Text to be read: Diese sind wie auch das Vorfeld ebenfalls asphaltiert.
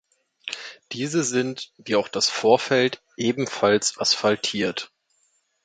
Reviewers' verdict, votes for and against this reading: accepted, 2, 0